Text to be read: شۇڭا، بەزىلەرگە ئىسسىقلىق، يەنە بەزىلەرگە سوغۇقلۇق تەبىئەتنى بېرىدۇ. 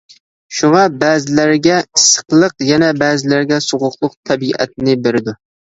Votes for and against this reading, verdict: 2, 0, accepted